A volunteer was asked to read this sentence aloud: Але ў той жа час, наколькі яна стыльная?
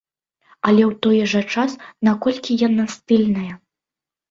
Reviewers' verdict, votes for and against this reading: accepted, 2, 0